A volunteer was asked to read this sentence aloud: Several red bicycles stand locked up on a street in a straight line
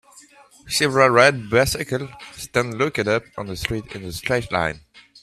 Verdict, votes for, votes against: rejected, 0, 2